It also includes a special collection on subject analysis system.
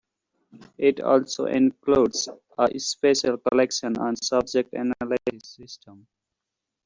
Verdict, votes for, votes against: rejected, 0, 2